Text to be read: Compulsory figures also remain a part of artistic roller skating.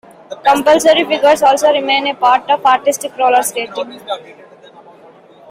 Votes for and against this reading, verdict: 2, 0, accepted